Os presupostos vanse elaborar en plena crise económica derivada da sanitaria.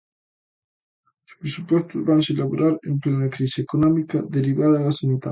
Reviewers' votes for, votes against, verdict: 0, 2, rejected